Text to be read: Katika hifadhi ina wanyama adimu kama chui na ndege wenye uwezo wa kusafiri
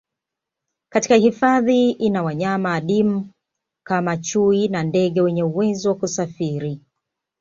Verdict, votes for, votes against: accepted, 2, 0